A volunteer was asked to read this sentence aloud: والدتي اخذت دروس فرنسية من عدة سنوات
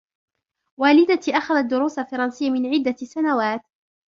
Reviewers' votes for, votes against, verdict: 0, 2, rejected